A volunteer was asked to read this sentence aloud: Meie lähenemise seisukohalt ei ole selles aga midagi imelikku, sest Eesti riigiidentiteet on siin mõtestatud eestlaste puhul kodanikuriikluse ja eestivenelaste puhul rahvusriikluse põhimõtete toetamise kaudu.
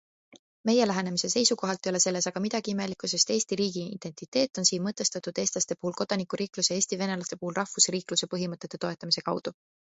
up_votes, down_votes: 2, 0